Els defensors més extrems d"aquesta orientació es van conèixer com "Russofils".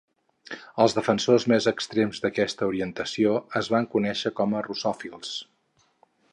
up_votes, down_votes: 2, 2